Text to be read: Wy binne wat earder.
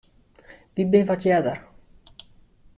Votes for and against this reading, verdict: 2, 1, accepted